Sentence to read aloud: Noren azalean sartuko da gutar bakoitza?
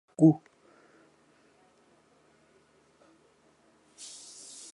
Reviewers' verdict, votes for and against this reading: rejected, 0, 2